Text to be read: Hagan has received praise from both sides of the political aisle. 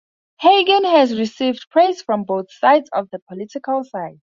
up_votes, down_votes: 0, 2